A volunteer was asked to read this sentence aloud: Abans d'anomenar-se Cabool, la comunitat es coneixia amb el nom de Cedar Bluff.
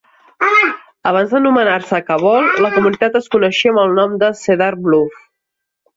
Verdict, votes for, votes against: rejected, 0, 2